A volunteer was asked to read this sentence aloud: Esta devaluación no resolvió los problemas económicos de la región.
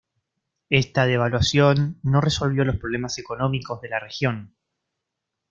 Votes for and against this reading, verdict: 2, 0, accepted